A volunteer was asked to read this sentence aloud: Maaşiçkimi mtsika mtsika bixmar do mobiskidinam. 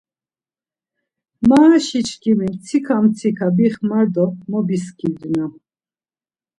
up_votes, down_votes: 1, 2